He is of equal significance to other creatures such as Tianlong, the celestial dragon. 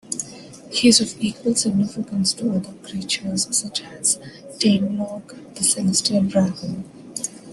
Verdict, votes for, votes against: accepted, 2, 0